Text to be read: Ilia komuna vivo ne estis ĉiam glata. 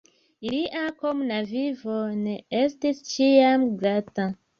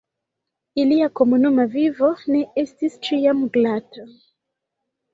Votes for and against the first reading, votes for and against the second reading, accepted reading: 2, 0, 0, 2, first